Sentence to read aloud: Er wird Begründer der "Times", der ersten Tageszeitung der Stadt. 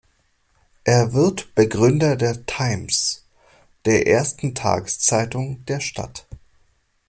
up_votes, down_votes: 2, 0